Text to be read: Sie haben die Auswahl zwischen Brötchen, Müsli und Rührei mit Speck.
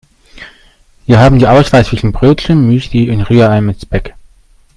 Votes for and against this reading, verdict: 0, 2, rejected